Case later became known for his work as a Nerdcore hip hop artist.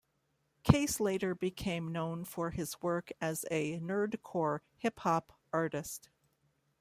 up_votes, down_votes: 2, 0